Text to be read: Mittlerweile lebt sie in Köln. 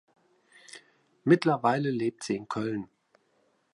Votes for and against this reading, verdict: 2, 0, accepted